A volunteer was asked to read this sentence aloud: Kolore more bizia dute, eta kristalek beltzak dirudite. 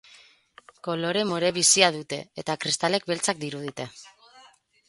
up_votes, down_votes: 0, 2